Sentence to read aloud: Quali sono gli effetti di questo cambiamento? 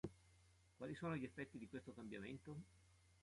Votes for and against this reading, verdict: 2, 0, accepted